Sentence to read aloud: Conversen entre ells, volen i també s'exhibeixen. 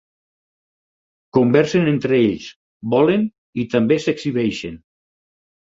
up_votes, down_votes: 6, 0